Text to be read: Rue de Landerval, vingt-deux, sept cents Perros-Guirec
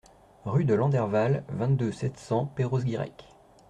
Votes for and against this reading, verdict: 0, 2, rejected